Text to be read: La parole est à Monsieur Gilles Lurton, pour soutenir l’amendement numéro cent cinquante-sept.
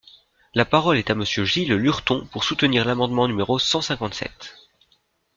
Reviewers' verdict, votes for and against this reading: accepted, 2, 0